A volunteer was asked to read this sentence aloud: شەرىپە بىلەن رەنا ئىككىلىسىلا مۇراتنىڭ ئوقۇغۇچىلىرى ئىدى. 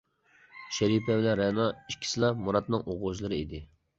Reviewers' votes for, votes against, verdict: 1, 2, rejected